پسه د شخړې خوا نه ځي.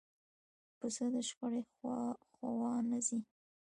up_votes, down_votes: 1, 2